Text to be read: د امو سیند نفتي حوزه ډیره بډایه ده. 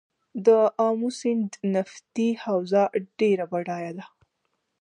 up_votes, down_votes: 2, 1